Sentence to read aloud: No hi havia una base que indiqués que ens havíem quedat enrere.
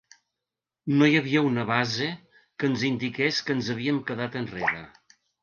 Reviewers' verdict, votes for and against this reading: rejected, 1, 2